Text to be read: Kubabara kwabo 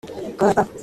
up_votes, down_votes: 0, 2